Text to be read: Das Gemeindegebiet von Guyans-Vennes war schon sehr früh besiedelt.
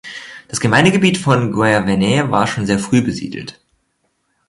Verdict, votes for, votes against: rejected, 1, 2